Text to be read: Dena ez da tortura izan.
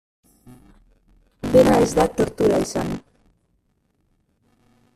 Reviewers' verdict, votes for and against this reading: rejected, 0, 2